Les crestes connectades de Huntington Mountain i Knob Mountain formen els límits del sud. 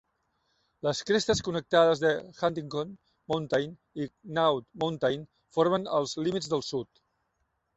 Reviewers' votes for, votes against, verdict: 0, 2, rejected